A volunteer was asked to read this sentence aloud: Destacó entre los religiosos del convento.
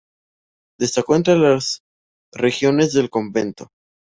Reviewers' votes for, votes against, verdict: 0, 2, rejected